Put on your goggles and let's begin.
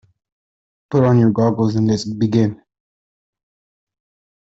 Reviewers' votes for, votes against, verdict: 1, 2, rejected